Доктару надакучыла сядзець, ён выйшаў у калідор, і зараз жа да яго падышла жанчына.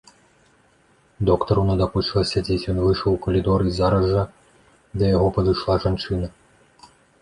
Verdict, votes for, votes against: accepted, 2, 1